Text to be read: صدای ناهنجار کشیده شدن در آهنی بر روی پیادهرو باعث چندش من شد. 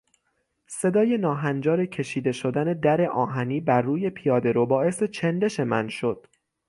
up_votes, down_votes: 6, 0